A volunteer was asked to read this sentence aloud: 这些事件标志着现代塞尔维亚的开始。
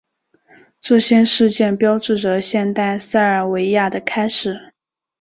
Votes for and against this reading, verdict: 3, 0, accepted